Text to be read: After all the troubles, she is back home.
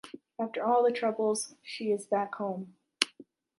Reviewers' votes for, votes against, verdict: 2, 0, accepted